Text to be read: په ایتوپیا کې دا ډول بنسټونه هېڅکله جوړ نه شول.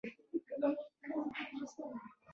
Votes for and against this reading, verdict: 0, 2, rejected